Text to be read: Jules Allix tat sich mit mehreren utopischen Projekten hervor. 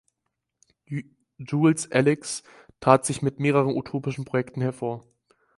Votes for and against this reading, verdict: 4, 0, accepted